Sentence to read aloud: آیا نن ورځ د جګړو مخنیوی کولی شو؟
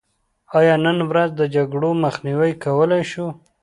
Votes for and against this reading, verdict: 2, 0, accepted